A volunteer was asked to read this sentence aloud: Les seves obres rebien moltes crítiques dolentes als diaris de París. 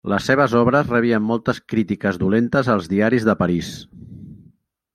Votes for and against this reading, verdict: 3, 0, accepted